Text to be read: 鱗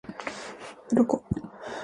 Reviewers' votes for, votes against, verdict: 2, 0, accepted